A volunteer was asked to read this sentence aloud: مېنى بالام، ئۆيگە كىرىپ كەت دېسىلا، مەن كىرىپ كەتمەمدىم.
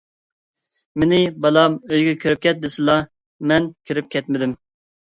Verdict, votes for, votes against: rejected, 0, 2